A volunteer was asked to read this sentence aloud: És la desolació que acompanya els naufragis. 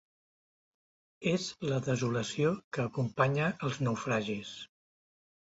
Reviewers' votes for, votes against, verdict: 2, 0, accepted